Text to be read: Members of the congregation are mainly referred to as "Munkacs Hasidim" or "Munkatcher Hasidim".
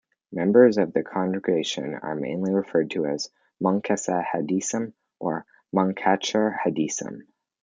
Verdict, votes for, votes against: accepted, 2, 0